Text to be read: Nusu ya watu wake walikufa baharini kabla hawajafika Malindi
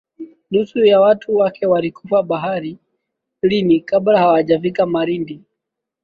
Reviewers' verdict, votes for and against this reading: rejected, 0, 2